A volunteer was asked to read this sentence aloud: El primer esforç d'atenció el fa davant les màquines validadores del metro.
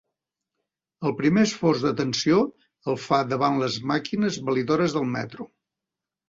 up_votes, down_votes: 0, 2